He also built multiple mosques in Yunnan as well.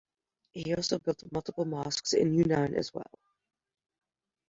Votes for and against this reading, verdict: 2, 1, accepted